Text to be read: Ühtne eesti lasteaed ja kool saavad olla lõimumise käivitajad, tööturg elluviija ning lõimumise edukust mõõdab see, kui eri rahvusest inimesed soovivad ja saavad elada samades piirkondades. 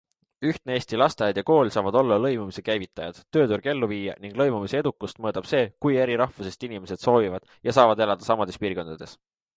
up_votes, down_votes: 2, 0